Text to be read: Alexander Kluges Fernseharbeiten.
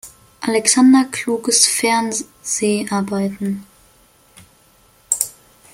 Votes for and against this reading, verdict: 1, 2, rejected